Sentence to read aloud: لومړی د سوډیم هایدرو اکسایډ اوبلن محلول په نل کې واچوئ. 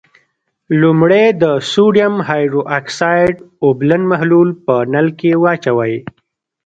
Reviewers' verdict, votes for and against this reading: rejected, 1, 2